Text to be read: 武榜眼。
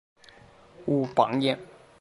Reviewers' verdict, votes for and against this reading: accepted, 6, 0